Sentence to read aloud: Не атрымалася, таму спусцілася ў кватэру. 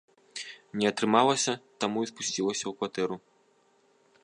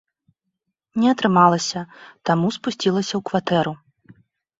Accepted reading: second